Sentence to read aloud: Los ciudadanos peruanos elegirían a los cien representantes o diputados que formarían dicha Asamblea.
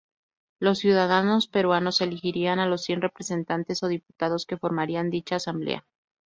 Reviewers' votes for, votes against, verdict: 0, 2, rejected